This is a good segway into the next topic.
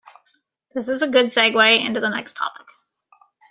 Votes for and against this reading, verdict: 2, 0, accepted